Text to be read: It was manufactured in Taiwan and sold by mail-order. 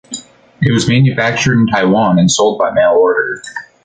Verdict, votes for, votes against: accepted, 2, 0